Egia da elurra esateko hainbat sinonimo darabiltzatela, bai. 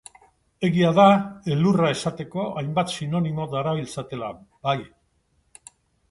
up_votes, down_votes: 2, 0